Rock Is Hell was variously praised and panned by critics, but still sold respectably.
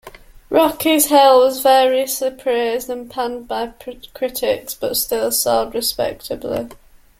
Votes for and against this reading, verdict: 0, 2, rejected